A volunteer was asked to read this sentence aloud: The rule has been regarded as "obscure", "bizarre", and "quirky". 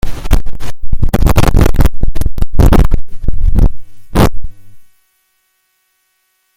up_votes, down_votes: 0, 2